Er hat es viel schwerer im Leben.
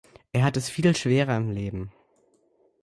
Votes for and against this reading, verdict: 2, 0, accepted